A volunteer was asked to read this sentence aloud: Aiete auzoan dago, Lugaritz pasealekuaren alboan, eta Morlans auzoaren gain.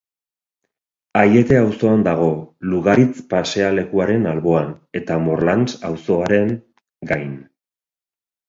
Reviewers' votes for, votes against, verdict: 2, 0, accepted